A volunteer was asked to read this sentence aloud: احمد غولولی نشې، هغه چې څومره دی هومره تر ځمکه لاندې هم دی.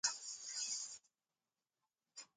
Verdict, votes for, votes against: rejected, 0, 2